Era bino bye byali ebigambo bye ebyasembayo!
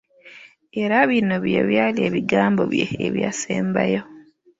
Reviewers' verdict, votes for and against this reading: accepted, 2, 0